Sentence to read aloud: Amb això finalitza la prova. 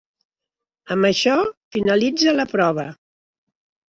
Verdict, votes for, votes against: accepted, 2, 1